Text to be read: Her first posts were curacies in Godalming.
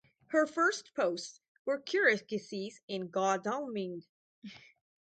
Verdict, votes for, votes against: rejected, 0, 4